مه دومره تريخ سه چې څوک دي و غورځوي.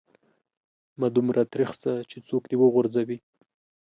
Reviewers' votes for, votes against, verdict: 3, 0, accepted